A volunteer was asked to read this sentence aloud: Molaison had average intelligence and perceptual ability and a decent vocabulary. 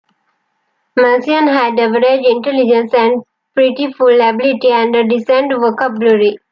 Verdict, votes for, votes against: rejected, 1, 2